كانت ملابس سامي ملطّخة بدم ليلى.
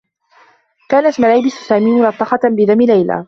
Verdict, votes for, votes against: accepted, 2, 0